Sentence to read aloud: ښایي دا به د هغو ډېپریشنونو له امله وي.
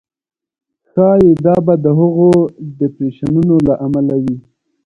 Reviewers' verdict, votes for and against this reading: accepted, 2, 0